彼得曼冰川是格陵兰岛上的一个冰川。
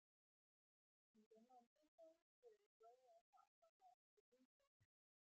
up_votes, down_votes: 0, 2